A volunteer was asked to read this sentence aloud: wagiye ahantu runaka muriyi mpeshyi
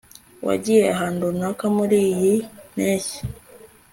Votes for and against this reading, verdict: 2, 1, accepted